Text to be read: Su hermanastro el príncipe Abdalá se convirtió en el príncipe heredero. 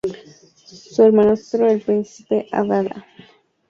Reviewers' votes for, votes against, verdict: 0, 2, rejected